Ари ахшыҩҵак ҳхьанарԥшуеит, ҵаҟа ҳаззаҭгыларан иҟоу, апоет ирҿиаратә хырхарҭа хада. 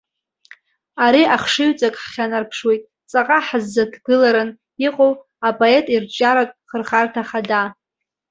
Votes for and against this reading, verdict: 2, 0, accepted